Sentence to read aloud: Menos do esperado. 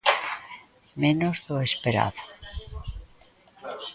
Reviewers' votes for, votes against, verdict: 2, 0, accepted